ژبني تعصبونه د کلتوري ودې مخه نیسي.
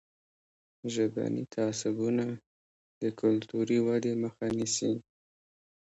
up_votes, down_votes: 2, 0